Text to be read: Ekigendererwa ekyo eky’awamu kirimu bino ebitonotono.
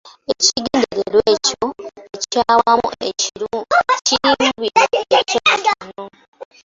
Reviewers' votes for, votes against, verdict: 0, 2, rejected